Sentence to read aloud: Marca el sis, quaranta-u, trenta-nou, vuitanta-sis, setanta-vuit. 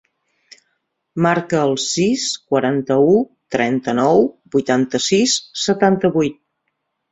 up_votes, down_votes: 3, 0